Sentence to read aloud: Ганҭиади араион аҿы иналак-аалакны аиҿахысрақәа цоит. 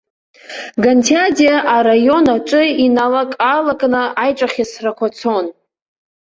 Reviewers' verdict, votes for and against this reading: rejected, 1, 2